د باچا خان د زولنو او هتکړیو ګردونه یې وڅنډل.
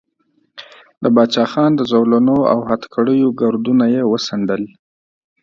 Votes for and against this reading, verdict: 3, 0, accepted